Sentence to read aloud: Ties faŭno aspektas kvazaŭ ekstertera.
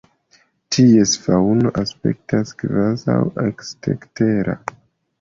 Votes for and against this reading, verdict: 0, 3, rejected